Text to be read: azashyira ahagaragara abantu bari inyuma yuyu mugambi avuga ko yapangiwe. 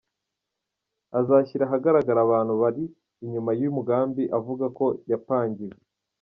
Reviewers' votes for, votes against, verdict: 2, 0, accepted